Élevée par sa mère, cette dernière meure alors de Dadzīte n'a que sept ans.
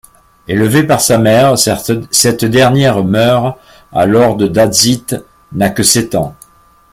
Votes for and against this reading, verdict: 0, 2, rejected